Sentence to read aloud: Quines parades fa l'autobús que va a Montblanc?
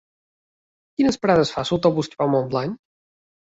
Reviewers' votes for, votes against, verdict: 2, 1, accepted